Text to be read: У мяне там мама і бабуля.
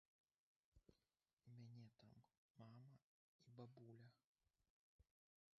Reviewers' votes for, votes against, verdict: 0, 2, rejected